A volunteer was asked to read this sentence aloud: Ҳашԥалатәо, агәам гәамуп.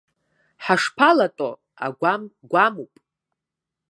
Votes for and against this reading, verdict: 2, 0, accepted